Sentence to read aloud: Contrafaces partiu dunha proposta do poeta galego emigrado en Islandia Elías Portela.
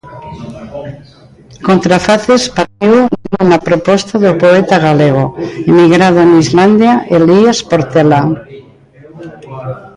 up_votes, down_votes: 0, 3